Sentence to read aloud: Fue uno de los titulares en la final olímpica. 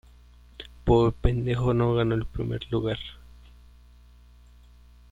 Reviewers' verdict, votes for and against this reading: rejected, 0, 2